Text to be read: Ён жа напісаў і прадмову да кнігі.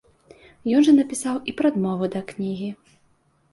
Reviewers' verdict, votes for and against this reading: accepted, 2, 0